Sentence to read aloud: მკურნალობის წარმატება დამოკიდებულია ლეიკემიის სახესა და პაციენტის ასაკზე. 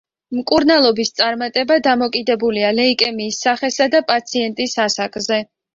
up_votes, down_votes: 2, 0